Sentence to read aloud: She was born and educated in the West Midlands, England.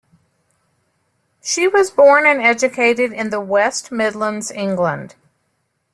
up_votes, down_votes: 2, 0